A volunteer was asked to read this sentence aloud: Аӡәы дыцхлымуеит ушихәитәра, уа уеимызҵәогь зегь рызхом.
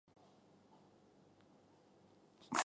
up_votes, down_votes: 0, 2